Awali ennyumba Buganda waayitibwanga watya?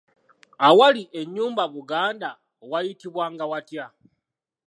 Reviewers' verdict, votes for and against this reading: accepted, 2, 0